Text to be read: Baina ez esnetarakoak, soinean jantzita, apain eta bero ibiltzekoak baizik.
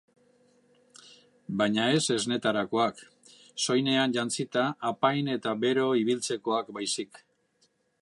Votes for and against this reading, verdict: 4, 0, accepted